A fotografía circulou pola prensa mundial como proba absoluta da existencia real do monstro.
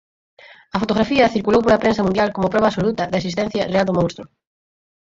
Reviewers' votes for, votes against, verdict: 0, 4, rejected